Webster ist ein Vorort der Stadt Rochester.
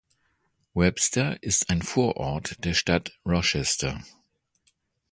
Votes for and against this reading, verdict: 2, 0, accepted